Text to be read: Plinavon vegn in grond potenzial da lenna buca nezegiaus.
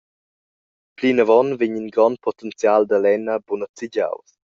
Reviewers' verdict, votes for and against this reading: accepted, 2, 0